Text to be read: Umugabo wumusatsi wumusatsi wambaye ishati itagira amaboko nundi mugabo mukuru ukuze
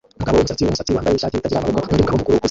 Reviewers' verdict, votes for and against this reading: rejected, 0, 2